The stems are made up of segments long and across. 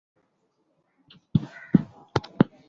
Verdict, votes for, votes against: rejected, 0, 2